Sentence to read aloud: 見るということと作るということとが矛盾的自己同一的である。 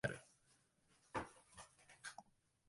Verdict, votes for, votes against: rejected, 1, 2